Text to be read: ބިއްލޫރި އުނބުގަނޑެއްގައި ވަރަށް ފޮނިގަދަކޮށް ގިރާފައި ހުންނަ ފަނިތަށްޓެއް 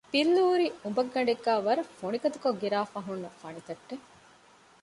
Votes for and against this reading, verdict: 2, 0, accepted